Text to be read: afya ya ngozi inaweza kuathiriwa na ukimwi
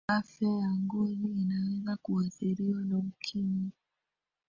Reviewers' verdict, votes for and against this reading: rejected, 1, 2